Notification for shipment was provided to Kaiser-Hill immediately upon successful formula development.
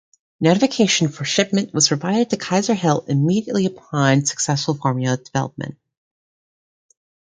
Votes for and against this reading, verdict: 2, 0, accepted